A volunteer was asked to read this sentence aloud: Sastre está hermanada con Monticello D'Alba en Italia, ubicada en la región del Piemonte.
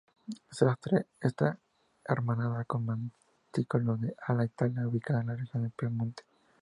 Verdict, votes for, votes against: accepted, 2, 0